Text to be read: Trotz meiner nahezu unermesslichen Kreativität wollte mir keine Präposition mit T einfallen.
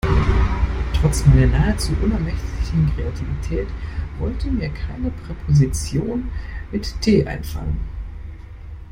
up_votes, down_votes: 1, 2